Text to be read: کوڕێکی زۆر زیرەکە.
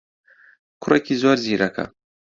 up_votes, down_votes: 2, 0